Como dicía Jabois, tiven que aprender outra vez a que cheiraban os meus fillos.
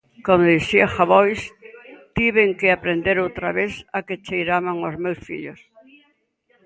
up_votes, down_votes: 1, 2